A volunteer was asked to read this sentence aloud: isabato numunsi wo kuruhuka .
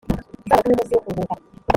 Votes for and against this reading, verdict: 1, 2, rejected